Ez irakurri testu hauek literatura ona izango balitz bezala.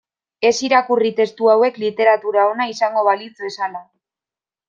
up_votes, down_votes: 2, 0